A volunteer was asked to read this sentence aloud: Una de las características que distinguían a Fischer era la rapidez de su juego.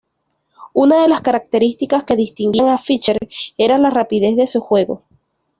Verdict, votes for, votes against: accepted, 2, 0